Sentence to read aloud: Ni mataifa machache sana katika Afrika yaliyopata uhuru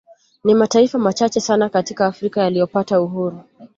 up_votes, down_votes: 2, 0